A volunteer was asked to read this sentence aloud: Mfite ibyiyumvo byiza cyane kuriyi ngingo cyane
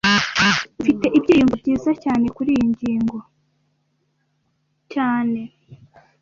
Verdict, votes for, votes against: rejected, 1, 2